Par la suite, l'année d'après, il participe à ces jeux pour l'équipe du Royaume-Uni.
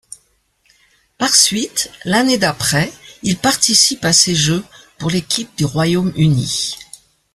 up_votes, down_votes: 1, 2